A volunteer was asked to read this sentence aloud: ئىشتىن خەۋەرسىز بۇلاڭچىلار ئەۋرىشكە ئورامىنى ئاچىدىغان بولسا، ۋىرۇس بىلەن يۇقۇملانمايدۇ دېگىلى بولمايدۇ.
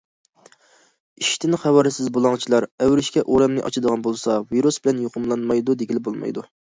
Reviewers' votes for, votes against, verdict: 2, 0, accepted